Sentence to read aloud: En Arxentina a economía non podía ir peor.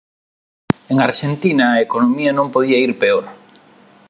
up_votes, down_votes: 2, 0